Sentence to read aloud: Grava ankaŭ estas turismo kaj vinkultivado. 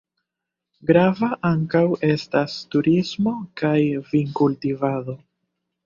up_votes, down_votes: 1, 2